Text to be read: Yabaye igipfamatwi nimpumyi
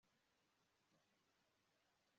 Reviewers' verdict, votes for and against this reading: rejected, 1, 2